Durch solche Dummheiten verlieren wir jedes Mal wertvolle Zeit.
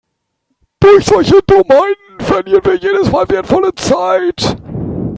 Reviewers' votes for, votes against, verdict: 3, 1, accepted